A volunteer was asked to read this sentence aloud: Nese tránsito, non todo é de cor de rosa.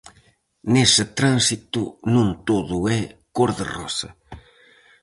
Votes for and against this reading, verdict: 0, 4, rejected